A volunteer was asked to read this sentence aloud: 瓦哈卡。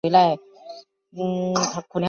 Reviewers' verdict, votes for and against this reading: rejected, 0, 2